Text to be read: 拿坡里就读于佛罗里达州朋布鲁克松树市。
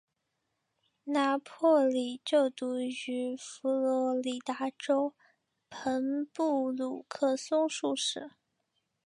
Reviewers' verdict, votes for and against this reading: accepted, 2, 0